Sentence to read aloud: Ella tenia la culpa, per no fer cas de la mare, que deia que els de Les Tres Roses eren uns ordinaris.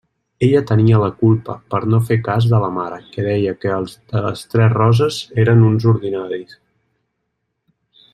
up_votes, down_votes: 0, 2